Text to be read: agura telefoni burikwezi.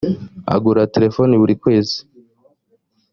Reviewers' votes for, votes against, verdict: 2, 0, accepted